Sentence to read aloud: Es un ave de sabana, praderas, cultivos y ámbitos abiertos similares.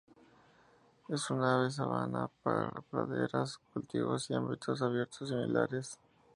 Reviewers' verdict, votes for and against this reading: rejected, 0, 2